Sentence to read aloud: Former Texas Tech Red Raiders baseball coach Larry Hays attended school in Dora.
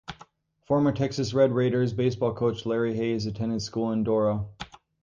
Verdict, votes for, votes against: rejected, 2, 2